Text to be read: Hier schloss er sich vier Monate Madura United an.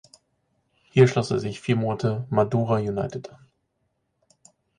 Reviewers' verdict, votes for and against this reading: accepted, 4, 2